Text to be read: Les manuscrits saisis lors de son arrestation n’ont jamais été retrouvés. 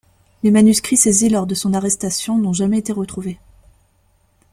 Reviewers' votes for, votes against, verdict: 2, 0, accepted